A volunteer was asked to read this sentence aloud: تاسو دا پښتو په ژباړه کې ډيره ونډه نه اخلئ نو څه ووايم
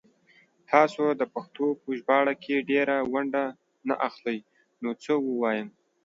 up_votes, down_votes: 2, 0